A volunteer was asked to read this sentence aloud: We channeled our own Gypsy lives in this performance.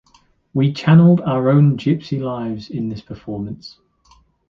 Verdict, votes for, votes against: accepted, 3, 0